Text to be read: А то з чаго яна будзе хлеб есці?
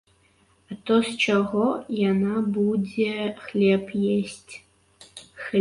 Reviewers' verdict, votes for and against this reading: rejected, 1, 2